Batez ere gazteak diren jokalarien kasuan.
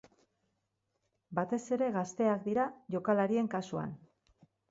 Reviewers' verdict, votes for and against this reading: rejected, 0, 6